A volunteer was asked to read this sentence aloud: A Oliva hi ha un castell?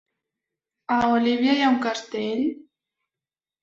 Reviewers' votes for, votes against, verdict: 1, 2, rejected